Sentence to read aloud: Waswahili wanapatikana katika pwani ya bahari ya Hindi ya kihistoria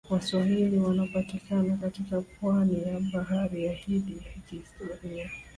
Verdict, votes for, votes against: rejected, 0, 2